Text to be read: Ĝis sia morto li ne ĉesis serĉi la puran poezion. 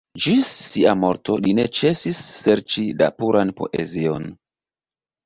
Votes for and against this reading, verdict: 2, 0, accepted